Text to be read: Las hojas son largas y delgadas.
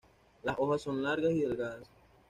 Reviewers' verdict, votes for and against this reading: accepted, 2, 0